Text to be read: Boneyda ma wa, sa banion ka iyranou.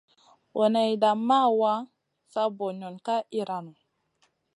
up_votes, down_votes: 2, 0